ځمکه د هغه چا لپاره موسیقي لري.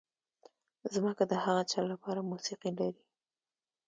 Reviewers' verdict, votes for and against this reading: accepted, 2, 0